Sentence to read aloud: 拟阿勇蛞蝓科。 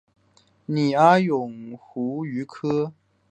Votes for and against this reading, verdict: 1, 2, rejected